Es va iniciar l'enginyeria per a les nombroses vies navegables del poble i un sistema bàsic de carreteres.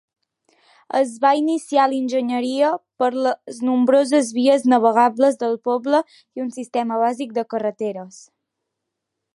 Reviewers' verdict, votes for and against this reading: accepted, 2, 1